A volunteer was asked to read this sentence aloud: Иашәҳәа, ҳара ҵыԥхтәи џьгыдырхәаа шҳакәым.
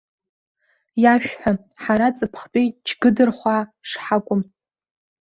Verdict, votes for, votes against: accepted, 2, 0